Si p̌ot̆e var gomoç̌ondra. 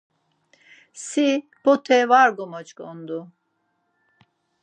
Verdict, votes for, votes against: rejected, 0, 4